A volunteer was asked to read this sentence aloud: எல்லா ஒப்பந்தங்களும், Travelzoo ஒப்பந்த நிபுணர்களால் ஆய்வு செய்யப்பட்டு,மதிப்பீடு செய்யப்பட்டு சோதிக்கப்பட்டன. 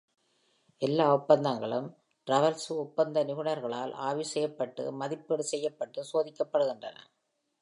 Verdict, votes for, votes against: rejected, 1, 2